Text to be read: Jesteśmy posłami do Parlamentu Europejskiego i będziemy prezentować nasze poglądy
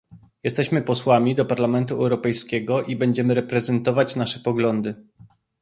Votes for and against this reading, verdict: 0, 2, rejected